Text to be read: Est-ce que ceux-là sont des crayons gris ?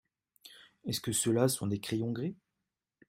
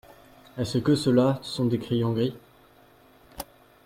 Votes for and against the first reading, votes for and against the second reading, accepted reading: 2, 0, 0, 2, first